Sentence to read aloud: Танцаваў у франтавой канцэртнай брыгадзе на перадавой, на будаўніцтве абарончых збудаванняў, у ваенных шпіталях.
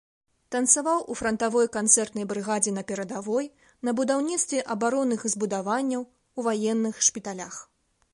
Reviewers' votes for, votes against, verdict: 1, 2, rejected